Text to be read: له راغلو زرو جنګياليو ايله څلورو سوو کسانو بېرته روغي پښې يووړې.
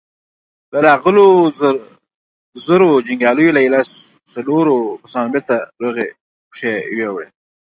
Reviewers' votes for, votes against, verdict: 2, 0, accepted